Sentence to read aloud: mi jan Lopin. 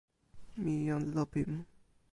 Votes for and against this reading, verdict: 2, 0, accepted